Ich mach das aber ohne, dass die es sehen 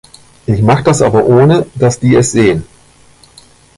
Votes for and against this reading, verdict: 2, 0, accepted